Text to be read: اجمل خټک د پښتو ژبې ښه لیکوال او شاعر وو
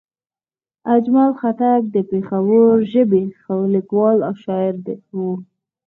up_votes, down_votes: 2, 6